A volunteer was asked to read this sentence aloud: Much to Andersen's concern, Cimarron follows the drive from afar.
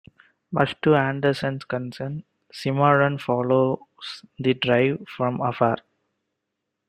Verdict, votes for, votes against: rejected, 0, 2